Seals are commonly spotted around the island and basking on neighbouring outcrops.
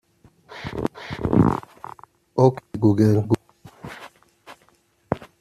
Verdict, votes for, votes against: rejected, 0, 2